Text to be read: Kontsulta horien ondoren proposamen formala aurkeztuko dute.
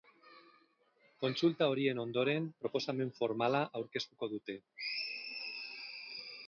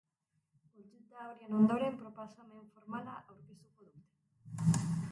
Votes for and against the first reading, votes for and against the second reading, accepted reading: 2, 0, 0, 2, first